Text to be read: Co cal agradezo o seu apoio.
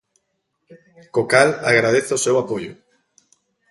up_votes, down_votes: 2, 0